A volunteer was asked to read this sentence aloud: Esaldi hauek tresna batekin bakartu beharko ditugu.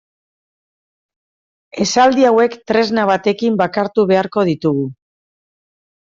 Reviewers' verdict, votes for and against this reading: accepted, 2, 0